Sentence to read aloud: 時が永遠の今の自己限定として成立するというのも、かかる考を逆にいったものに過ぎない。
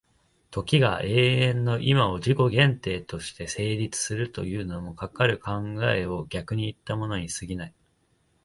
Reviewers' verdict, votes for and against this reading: accepted, 2, 1